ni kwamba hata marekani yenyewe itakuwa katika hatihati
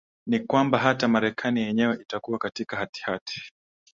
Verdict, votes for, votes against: accepted, 2, 0